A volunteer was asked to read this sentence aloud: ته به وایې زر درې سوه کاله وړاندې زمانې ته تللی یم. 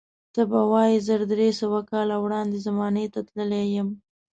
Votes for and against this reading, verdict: 2, 0, accepted